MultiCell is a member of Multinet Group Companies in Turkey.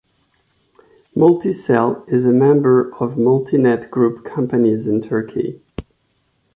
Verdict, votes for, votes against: accepted, 2, 0